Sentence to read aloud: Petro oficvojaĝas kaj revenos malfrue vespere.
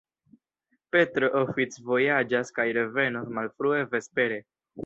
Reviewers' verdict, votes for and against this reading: rejected, 0, 2